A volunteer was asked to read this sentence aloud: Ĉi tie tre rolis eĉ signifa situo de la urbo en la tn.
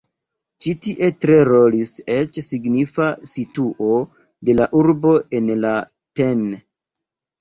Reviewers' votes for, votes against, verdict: 2, 3, rejected